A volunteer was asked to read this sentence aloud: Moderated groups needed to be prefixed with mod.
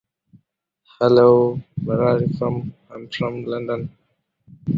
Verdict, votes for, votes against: rejected, 0, 2